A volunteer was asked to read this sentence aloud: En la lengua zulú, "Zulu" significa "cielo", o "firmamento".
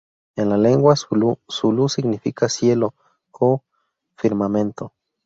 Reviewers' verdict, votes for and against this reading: accepted, 2, 0